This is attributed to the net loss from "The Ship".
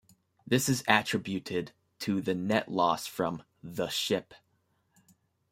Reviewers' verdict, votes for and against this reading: accepted, 2, 0